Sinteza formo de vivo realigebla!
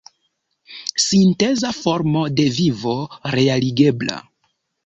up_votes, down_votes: 2, 0